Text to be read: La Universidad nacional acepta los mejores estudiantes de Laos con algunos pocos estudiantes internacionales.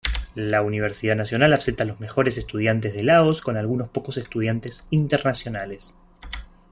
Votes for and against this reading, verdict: 2, 0, accepted